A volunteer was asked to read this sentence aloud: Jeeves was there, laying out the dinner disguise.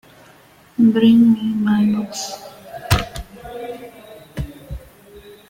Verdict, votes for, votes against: rejected, 0, 2